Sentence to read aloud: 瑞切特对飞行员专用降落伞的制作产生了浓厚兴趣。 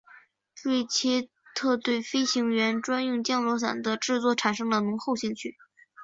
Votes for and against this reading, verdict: 3, 0, accepted